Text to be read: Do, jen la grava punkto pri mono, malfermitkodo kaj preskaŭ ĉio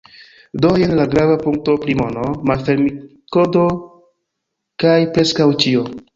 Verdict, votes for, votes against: rejected, 0, 2